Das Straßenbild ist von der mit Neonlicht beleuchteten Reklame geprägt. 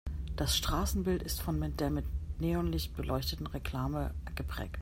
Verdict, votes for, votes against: rejected, 0, 2